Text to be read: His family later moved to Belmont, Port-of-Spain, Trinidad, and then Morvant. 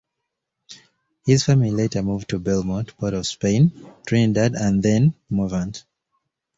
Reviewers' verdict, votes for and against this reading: accepted, 2, 0